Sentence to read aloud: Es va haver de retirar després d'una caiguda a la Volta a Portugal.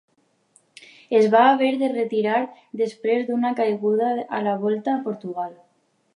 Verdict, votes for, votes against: accepted, 3, 0